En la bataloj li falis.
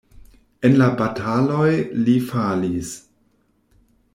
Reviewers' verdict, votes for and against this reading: accepted, 2, 0